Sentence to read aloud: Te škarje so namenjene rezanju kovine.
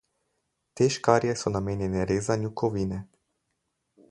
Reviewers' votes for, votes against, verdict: 4, 0, accepted